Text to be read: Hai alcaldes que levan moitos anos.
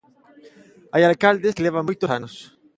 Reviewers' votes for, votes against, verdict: 0, 3, rejected